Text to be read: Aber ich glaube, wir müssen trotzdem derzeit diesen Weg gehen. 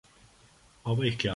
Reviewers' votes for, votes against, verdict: 0, 2, rejected